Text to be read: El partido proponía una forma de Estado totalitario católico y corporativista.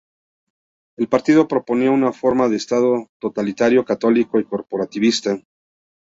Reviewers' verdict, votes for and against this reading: accepted, 3, 0